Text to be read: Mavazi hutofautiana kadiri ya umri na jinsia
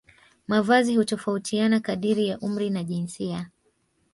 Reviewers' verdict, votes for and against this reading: accepted, 2, 0